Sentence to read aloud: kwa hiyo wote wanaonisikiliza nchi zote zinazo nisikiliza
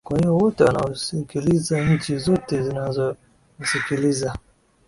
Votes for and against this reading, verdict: 2, 3, rejected